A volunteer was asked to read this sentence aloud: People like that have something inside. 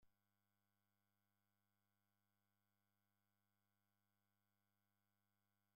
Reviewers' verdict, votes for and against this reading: rejected, 0, 2